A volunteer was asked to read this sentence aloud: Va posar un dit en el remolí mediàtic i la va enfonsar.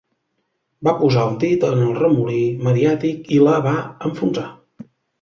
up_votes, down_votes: 2, 0